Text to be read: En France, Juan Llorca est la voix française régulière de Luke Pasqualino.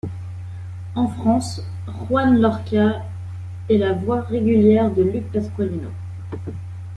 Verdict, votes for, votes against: rejected, 1, 2